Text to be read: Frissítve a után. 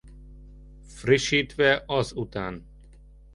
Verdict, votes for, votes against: rejected, 0, 2